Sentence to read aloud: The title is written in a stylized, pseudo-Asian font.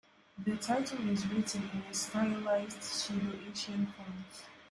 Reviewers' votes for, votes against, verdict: 1, 2, rejected